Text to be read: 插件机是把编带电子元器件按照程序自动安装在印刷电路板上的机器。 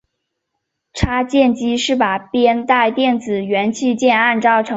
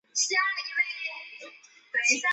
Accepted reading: second